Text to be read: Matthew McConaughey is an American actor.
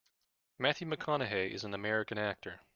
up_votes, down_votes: 2, 0